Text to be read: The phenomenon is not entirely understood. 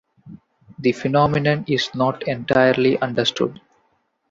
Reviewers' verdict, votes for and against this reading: accepted, 2, 0